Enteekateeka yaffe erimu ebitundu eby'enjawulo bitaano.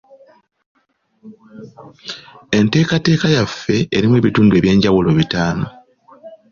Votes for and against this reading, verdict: 2, 0, accepted